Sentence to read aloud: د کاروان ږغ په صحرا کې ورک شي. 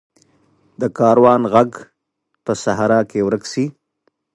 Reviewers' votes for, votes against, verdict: 2, 0, accepted